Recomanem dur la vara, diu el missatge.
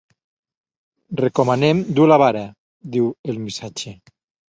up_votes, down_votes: 2, 0